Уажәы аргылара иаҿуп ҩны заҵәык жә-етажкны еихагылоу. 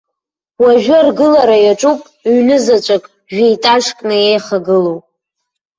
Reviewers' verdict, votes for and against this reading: accepted, 2, 0